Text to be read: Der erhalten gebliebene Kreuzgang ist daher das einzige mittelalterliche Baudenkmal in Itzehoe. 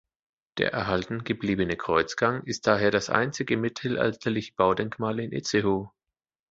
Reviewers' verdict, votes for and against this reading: accepted, 2, 0